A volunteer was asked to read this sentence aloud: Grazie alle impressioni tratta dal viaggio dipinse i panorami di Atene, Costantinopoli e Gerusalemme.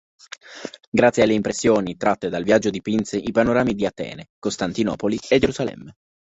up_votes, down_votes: 1, 2